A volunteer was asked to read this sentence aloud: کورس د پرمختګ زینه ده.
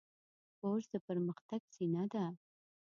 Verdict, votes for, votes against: rejected, 1, 2